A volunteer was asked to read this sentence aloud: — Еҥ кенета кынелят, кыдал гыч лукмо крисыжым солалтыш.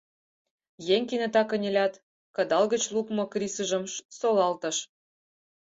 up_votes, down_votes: 0, 4